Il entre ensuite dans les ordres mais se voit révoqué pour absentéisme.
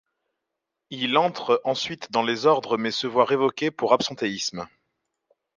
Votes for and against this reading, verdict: 2, 0, accepted